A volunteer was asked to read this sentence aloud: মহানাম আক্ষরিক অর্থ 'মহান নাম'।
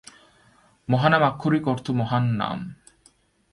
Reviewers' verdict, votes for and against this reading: accepted, 2, 0